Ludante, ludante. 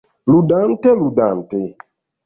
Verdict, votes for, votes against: rejected, 1, 2